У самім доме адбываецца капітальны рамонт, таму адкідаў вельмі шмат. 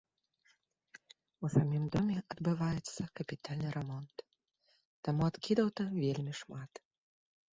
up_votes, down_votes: 0, 2